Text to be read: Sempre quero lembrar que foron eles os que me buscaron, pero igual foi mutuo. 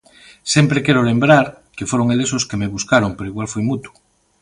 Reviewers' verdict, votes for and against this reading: accepted, 2, 0